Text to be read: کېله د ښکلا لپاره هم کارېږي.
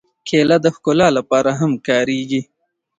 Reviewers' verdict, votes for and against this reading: accepted, 2, 1